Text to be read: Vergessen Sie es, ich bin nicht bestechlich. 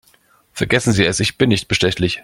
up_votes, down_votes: 2, 0